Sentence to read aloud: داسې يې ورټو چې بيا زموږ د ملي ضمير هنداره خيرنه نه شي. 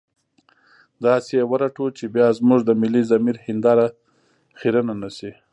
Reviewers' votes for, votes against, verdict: 1, 2, rejected